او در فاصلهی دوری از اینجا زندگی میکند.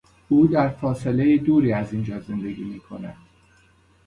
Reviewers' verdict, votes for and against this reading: accepted, 2, 1